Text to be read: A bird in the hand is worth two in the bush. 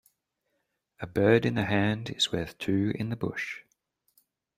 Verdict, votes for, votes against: accepted, 2, 0